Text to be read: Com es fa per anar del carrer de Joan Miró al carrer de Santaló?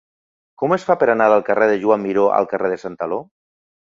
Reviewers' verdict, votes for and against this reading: accepted, 5, 0